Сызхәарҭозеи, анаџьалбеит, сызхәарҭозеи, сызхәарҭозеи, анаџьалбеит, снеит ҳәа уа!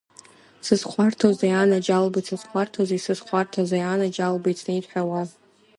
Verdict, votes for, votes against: rejected, 1, 2